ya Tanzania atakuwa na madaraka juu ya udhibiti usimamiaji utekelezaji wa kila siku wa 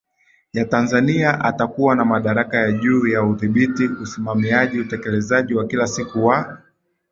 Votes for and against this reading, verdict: 2, 1, accepted